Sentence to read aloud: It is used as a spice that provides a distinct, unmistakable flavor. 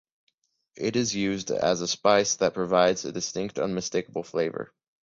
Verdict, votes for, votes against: accepted, 2, 0